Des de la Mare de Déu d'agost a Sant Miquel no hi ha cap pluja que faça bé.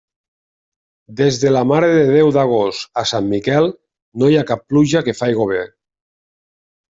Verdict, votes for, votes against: rejected, 0, 2